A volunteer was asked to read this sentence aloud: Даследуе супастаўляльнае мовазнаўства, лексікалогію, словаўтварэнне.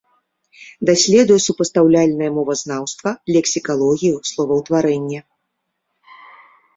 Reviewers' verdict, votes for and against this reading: accepted, 2, 0